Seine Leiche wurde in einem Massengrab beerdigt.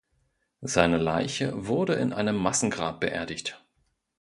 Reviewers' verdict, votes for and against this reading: accepted, 2, 0